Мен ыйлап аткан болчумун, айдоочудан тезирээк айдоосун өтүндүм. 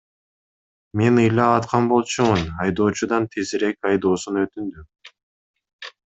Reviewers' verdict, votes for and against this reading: accepted, 2, 0